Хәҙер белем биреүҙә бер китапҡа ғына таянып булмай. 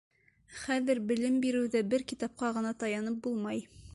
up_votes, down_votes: 2, 0